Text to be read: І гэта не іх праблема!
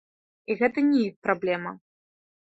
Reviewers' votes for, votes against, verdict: 0, 2, rejected